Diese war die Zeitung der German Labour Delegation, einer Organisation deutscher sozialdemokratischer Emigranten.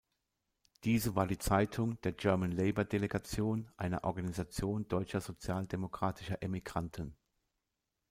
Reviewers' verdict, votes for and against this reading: rejected, 1, 2